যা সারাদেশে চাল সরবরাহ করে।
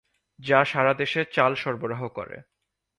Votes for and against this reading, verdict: 6, 0, accepted